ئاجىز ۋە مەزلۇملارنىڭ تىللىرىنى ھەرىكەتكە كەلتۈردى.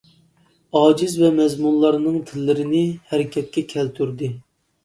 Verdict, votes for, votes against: rejected, 1, 2